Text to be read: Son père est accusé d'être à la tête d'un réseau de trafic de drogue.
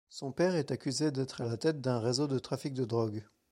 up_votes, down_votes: 2, 0